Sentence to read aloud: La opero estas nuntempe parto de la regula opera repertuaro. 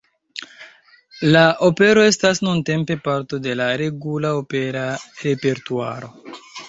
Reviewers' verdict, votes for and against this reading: rejected, 2, 3